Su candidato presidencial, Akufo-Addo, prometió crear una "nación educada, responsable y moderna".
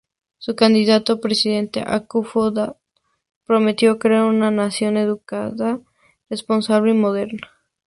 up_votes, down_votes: 0, 2